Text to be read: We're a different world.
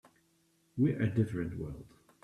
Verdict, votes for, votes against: accepted, 2, 0